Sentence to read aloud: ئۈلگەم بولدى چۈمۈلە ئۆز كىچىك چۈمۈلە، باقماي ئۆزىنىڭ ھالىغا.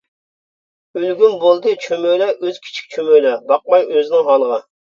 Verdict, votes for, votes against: rejected, 0, 2